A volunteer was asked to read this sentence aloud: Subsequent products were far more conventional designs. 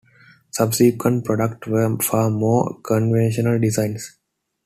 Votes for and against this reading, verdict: 2, 1, accepted